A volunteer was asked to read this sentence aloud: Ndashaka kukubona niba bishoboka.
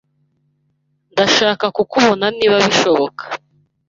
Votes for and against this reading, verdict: 2, 0, accepted